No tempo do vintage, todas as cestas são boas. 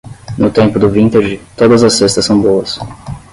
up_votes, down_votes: 10, 0